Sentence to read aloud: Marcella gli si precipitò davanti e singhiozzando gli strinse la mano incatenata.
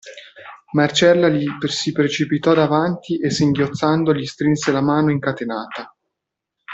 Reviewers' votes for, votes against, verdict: 0, 2, rejected